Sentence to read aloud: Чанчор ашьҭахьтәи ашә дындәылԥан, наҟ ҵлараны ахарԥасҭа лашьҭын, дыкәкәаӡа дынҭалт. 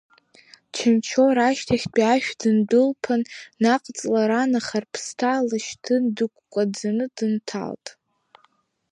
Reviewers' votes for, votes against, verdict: 1, 2, rejected